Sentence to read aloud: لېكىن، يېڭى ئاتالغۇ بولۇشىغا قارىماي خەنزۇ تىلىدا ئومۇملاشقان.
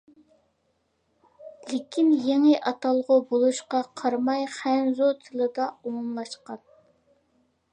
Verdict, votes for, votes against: rejected, 0, 2